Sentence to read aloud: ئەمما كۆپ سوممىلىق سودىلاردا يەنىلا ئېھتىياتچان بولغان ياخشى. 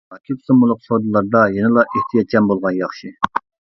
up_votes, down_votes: 0, 2